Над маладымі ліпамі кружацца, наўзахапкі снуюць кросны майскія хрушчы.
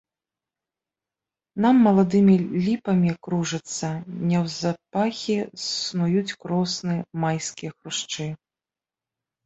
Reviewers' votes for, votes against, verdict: 0, 2, rejected